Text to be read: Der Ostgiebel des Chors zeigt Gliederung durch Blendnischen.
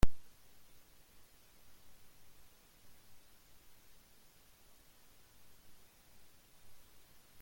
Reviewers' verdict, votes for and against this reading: rejected, 0, 2